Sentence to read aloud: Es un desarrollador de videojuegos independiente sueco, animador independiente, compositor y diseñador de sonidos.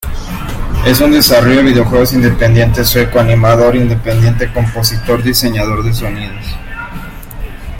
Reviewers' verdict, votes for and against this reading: rejected, 0, 2